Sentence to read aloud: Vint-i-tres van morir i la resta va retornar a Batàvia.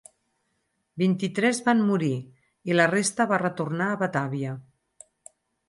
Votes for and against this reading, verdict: 6, 0, accepted